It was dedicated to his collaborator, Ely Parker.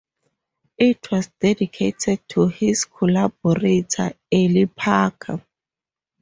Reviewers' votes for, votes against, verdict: 2, 0, accepted